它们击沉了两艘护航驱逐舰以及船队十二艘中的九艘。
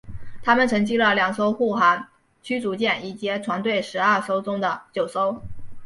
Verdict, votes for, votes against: accepted, 2, 1